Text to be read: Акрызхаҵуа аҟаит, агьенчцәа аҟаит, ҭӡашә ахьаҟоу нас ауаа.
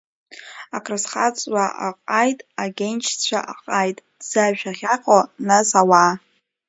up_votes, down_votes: 2, 1